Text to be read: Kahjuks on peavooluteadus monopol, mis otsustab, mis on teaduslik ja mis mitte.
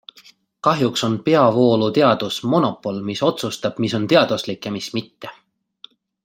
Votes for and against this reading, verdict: 2, 0, accepted